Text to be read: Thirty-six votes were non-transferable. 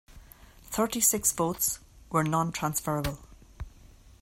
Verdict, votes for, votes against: accepted, 2, 0